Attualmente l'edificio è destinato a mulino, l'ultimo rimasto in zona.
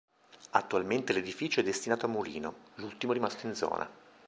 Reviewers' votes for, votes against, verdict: 2, 0, accepted